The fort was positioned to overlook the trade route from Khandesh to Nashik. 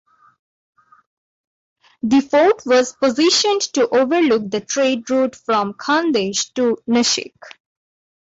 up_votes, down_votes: 2, 0